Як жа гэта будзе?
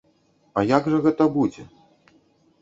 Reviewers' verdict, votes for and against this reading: rejected, 1, 2